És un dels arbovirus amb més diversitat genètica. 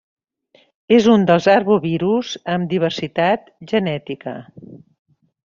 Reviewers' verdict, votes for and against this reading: rejected, 1, 2